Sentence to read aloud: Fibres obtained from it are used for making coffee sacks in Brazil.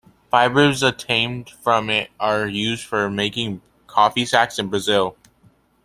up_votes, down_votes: 2, 0